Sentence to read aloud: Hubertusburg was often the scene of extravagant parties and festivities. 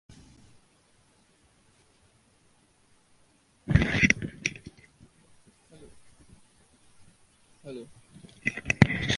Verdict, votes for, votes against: rejected, 0, 2